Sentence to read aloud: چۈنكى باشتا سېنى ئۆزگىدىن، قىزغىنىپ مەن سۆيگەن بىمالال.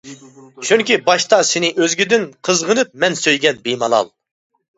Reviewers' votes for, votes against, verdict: 2, 0, accepted